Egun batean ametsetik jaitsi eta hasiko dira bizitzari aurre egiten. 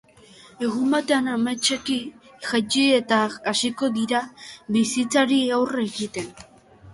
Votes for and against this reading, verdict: 0, 2, rejected